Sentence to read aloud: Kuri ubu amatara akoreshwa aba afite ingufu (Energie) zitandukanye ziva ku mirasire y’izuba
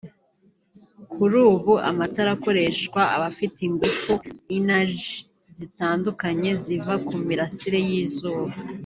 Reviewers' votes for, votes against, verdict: 2, 1, accepted